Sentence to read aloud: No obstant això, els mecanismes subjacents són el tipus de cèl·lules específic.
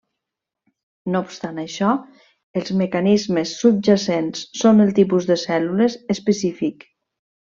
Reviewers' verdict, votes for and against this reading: accepted, 3, 0